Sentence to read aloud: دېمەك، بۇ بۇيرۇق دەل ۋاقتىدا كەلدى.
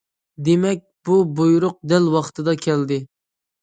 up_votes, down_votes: 2, 0